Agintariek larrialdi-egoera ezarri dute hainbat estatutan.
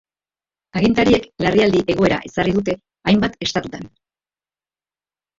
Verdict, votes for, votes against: accepted, 2, 1